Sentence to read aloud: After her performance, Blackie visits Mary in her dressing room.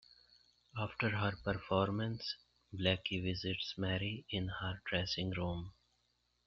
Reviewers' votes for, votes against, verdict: 2, 0, accepted